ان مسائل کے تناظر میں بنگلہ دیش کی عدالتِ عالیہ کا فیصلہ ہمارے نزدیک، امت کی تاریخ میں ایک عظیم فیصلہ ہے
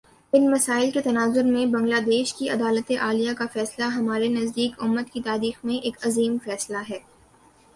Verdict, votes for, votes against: accepted, 2, 1